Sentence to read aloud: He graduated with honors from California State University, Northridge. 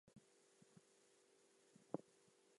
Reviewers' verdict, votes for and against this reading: rejected, 0, 4